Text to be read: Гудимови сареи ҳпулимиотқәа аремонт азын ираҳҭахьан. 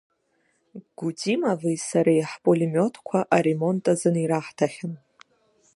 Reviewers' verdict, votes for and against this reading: accepted, 2, 1